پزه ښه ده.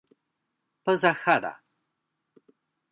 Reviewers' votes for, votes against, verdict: 0, 2, rejected